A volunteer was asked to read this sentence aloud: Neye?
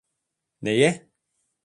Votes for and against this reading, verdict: 2, 0, accepted